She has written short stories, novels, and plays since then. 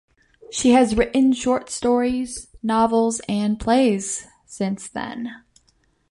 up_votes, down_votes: 2, 0